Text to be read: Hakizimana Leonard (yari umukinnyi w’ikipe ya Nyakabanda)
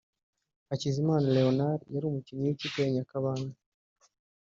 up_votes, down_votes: 0, 2